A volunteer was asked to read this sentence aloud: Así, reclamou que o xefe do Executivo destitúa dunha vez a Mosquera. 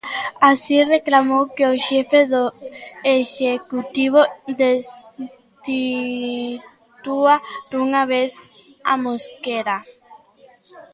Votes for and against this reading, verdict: 1, 2, rejected